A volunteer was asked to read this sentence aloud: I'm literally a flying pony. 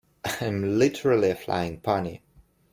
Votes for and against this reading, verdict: 1, 2, rejected